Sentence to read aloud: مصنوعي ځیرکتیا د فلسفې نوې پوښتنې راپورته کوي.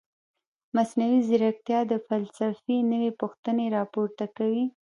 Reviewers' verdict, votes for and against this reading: rejected, 0, 2